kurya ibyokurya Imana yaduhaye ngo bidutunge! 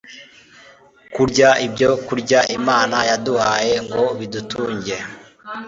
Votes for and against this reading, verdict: 2, 0, accepted